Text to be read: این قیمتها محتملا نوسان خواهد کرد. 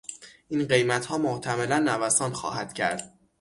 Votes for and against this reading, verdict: 6, 0, accepted